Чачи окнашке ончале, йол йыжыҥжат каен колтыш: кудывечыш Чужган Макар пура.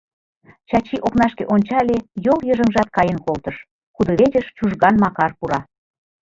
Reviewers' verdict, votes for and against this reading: rejected, 1, 2